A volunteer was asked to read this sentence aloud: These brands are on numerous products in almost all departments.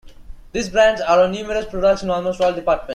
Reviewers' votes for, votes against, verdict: 0, 2, rejected